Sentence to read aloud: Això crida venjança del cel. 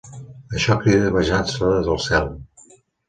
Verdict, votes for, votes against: rejected, 0, 2